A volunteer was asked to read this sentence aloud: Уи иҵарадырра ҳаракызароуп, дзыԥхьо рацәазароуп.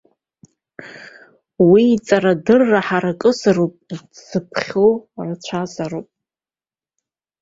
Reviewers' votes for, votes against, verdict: 2, 0, accepted